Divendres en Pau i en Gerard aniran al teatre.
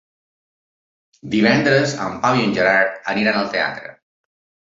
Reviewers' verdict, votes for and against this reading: accepted, 3, 0